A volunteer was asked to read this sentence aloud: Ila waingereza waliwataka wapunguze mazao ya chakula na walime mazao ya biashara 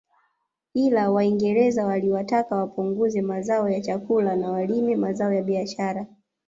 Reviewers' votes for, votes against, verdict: 0, 2, rejected